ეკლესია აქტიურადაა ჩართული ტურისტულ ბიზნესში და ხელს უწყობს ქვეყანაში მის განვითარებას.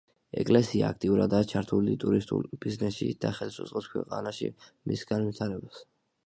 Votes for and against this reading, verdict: 2, 1, accepted